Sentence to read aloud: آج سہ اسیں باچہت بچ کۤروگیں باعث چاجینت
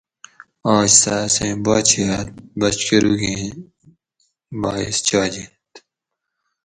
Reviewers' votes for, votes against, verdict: 4, 0, accepted